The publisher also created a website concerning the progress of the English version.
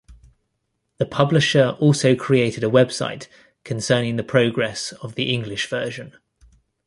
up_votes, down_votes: 2, 1